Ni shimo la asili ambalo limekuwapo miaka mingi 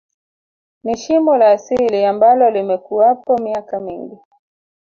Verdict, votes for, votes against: accepted, 3, 1